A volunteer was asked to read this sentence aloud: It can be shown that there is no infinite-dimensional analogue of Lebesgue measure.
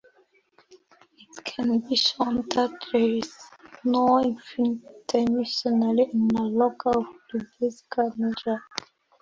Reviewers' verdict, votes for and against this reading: rejected, 0, 2